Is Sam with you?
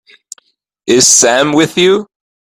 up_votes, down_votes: 3, 0